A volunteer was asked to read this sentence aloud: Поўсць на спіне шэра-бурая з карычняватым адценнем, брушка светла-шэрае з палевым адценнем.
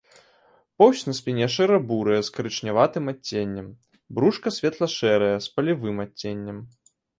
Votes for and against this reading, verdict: 0, 2, rejected